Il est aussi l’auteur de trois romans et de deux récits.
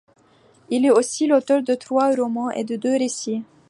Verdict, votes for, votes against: accepted, 2, 0